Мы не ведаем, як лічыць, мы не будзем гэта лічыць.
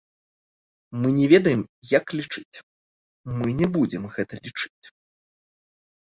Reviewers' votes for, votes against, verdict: 2, 0, accepted